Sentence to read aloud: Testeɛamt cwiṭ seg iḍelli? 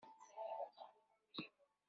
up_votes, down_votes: 1, 2